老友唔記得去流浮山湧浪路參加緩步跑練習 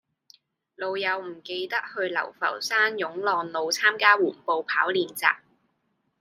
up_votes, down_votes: 2, 0